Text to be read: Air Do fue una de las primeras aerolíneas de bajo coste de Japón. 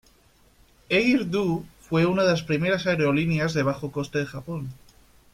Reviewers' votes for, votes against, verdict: 2, 0, accepted